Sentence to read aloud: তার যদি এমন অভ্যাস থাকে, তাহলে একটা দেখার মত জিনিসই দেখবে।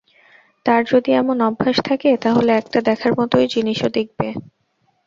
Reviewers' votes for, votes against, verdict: 2, 2, rejected